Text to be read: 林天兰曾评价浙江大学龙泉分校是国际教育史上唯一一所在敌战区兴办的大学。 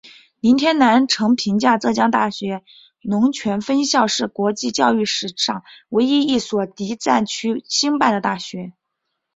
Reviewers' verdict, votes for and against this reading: rejected, 0, 2